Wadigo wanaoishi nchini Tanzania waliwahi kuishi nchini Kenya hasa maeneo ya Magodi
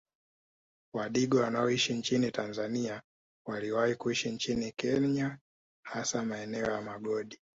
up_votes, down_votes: 0, 2